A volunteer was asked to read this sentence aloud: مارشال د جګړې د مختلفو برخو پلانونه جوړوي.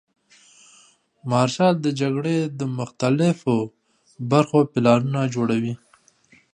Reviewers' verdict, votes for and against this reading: accepted, 2, 0